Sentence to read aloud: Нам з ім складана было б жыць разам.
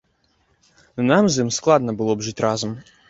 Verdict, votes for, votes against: rejected, 0, 2